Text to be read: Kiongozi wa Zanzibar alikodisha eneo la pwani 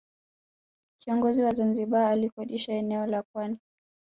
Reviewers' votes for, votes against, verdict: 3, 2, accepted